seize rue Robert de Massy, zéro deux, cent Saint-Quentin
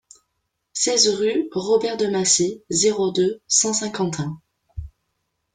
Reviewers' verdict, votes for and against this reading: rejected, 1, 2